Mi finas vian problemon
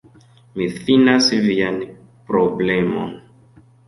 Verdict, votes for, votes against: accepted, 2, 0